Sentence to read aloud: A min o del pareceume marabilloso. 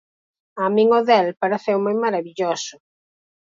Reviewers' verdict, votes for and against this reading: accepted, 4, 0